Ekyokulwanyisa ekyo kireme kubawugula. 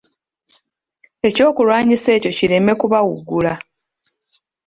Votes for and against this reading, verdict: 2, 1, accepted